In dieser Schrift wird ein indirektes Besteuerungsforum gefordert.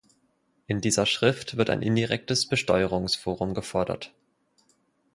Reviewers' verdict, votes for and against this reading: accepted, 4, 0